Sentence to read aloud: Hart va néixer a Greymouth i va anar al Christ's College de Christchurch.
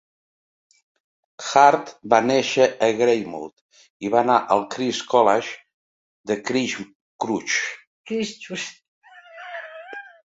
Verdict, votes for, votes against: rejected, 0, 2